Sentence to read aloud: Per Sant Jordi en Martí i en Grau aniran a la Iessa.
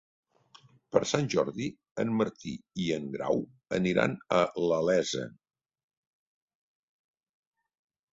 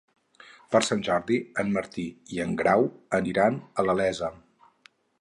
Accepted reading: first